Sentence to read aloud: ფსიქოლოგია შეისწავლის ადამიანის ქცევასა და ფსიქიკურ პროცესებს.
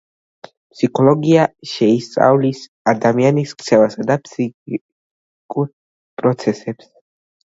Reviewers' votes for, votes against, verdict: 2, 1, accepted